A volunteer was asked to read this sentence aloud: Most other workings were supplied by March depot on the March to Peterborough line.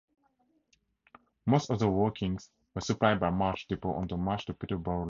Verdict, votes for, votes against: rejected, 0, 4